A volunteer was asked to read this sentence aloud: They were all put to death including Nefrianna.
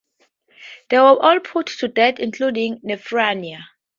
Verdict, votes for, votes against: rejected, 0, 2